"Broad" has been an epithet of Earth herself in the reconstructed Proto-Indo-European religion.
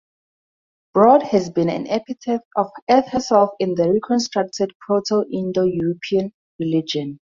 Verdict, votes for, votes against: accepted, 2, 0